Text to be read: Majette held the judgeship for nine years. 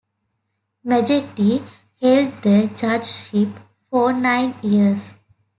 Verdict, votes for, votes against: rejected, 1, 2